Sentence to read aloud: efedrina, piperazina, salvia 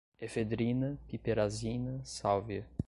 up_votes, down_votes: 2, 1